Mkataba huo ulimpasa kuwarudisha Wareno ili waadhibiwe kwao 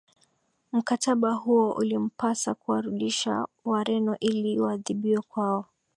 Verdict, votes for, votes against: accepted, 2, 0